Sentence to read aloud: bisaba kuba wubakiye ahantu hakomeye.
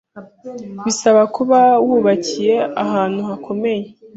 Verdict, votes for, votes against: accepted, 2, 0